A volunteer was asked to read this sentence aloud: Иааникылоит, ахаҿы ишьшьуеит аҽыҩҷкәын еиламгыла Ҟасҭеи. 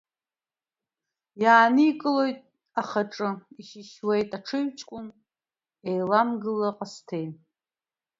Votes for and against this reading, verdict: 1, 2, rejected